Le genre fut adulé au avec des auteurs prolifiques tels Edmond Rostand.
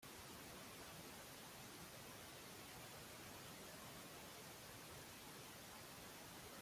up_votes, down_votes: 0, 2